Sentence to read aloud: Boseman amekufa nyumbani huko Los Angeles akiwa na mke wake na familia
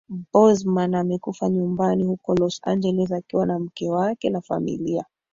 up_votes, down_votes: 2, 1